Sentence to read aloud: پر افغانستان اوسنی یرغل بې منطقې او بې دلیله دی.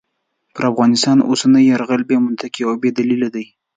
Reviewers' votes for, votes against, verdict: 2, 0, accepted